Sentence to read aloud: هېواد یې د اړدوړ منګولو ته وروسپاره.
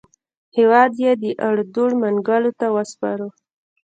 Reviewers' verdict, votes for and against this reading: rejected, 0, 2